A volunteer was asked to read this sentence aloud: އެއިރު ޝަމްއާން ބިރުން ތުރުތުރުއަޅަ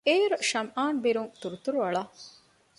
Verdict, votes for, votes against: accepted, 2, 0